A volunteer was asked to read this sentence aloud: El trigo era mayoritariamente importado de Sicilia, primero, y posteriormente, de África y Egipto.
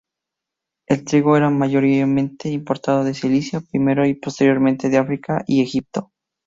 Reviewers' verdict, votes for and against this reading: rejected, 0, 2